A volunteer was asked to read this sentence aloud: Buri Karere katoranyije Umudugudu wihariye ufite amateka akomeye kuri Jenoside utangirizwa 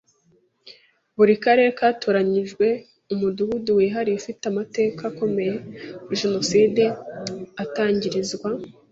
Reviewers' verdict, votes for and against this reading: rejected, 1, 2